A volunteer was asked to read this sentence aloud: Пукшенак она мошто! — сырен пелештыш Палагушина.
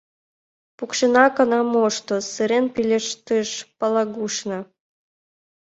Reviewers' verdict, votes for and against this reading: rejected, 1, 2